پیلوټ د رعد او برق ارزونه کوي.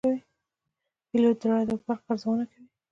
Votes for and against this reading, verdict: 1, 2, rejected